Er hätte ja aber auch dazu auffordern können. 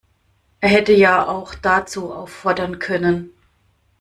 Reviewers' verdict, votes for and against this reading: rejected, 1, 2